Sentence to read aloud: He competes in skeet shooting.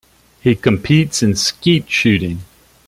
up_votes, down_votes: 2, 0